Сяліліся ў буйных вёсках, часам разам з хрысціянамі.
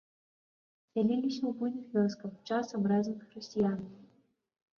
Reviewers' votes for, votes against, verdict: 1, 2, rejected